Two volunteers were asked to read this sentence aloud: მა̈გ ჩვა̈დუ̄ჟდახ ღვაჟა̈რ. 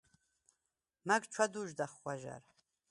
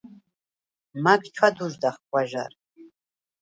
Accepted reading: second